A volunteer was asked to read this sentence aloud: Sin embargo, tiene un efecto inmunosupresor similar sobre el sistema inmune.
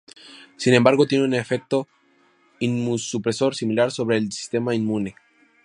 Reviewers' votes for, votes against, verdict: 6, 6, rejected